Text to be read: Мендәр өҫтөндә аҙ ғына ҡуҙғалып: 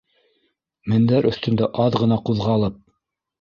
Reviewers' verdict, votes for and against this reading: rejected, 1, 2